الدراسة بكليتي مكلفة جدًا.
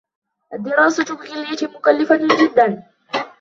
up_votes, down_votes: 2, 0